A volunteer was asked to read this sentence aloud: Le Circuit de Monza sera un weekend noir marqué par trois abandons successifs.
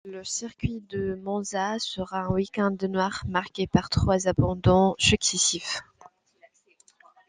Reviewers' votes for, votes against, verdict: 0, 2, rejected